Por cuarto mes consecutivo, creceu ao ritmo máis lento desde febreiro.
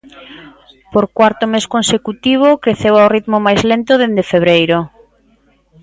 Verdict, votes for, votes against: rejected, 0, 2